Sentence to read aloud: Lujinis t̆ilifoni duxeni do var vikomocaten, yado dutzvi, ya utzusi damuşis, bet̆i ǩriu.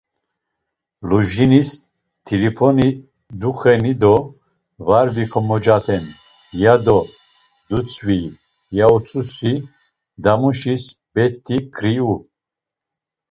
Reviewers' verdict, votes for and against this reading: accepted, 2, 0